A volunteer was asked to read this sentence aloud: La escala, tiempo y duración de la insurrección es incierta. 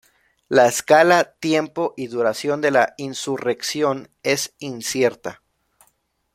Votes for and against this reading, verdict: 2, 0, accepted